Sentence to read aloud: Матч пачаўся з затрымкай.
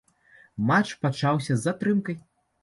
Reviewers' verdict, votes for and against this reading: accepted, 2, 0